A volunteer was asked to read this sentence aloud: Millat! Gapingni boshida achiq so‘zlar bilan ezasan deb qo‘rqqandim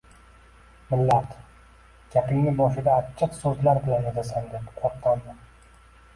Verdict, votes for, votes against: rejected, 1, 2